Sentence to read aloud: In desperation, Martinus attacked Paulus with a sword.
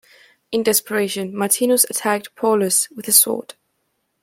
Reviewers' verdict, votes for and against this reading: rejected, 1, 2